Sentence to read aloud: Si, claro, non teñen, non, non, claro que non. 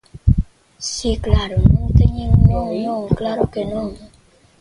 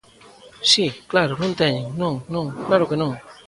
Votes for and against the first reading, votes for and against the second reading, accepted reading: 1, 2, 2, 0, second